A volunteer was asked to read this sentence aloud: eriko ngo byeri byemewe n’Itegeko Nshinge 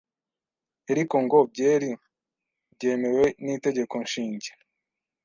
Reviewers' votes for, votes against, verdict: 1, 2, rejected